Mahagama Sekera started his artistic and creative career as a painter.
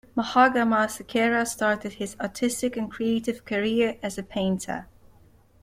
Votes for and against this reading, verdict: 2, 0, accepted